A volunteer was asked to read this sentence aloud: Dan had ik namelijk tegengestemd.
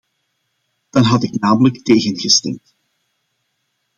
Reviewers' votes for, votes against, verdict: 2, 0, accepted